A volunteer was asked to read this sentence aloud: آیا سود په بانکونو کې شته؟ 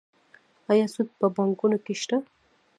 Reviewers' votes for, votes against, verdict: 1, 2, rejected